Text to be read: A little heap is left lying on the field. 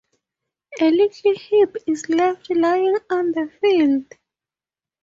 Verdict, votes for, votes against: accepted, 2, 0